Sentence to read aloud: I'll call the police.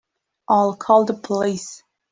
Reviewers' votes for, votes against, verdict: 3, 0, accepted